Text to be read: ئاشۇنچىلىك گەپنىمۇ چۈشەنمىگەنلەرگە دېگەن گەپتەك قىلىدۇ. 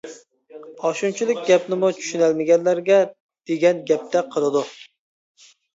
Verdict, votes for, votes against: rejected, 0, 2